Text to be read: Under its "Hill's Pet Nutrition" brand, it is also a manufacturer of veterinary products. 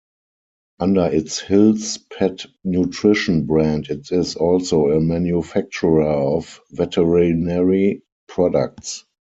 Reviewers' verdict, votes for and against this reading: accepted, 4, 2